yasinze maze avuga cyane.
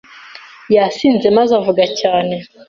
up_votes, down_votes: 2, 0